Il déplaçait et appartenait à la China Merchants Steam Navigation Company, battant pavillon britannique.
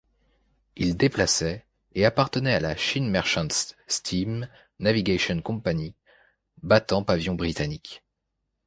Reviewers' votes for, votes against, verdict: 1, 2, rejected